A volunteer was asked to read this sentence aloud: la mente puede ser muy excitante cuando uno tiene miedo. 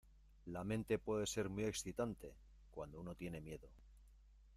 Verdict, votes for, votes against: accepted, 2, 0